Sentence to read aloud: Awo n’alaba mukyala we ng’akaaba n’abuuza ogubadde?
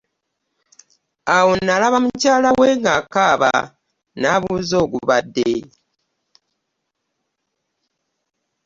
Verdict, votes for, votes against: rejected, 0, 2